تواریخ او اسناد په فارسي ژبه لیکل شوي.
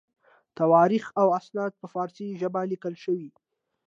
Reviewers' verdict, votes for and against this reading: accepted, 2, 1